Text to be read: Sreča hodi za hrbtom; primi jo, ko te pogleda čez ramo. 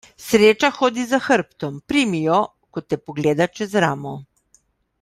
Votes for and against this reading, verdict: 2, 0, accepted